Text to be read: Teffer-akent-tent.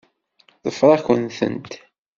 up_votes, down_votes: 1, 3